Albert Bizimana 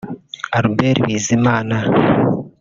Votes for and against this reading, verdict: 1, 2, rejected